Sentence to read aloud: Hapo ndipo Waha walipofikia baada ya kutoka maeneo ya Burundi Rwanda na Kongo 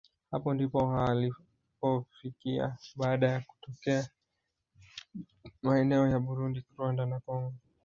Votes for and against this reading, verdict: 1, 2, rejected